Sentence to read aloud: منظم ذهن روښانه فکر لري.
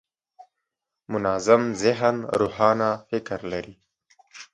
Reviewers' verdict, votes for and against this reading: accepted, 5, 0